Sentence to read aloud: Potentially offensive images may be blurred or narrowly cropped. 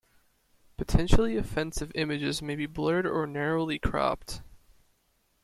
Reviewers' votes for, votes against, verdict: 2, 0, accepted